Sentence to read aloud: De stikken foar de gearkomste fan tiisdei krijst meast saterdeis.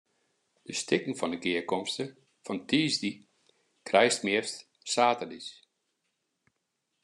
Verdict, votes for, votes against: accepted, 2, 0